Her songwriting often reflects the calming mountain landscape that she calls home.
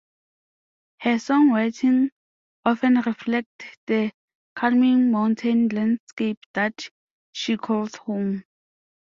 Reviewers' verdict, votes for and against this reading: accepted, 2, 1